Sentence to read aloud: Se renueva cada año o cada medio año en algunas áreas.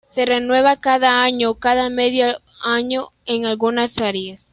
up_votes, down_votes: 0, 2